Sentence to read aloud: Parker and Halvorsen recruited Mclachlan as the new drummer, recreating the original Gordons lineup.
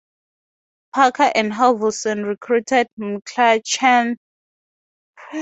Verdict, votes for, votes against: rejected, 0, 2